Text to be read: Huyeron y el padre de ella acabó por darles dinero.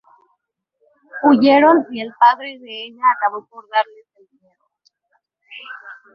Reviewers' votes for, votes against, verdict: 2, 4, rejected